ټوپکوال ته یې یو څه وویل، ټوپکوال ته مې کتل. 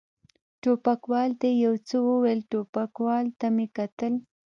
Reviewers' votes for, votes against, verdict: 1, 2, rejected